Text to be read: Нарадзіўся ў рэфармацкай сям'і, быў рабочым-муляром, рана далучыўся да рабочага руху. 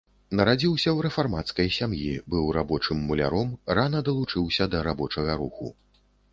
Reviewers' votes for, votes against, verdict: 2, 0, accepted